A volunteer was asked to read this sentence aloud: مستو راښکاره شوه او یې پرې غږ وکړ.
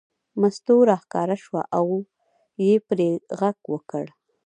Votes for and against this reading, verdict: 1, 2, rejected